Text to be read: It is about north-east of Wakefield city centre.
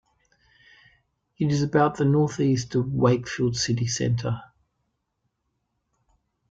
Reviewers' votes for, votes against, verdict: 0, 2, rejected